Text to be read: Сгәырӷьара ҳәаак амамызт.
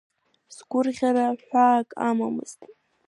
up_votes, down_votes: 2, 0